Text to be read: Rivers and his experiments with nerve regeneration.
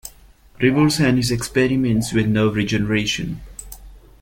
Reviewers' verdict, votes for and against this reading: accepted, 2, 0